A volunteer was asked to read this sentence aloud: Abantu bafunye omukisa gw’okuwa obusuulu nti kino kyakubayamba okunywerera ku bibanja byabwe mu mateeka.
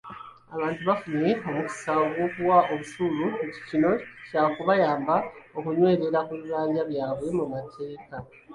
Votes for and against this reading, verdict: 0, 2, rejected